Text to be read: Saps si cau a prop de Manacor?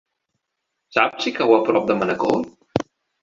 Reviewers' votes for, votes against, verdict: 3, 0, accepted